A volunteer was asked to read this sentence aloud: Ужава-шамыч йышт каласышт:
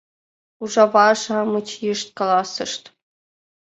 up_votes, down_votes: 2, 0